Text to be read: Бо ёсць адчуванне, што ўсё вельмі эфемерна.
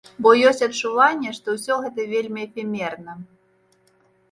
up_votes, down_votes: 1, 2